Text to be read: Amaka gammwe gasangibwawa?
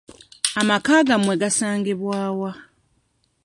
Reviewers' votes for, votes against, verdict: 2, 0, accepted